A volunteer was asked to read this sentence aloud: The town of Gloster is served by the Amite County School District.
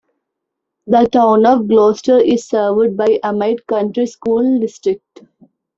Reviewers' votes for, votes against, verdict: 0, 2, rejected